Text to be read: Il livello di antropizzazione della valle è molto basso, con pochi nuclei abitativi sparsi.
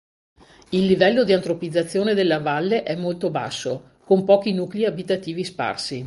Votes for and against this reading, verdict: 2, 0, accepted